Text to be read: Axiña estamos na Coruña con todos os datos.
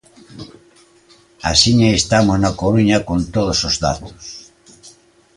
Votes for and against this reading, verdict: 3, 1, accepted